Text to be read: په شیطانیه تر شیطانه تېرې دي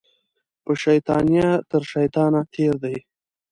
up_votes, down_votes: 0, 2